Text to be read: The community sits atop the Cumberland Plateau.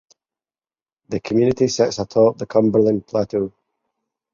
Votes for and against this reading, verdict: 4, 0, accepted